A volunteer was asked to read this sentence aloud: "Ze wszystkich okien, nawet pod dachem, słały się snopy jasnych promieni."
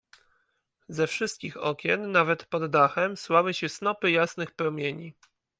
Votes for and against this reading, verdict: 2, 0, accepted